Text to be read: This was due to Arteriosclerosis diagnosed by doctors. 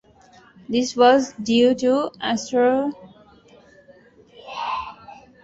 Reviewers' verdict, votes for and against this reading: rejected, 0, 2